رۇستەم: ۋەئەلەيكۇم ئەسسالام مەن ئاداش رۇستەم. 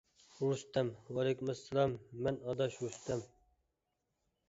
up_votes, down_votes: 1, 2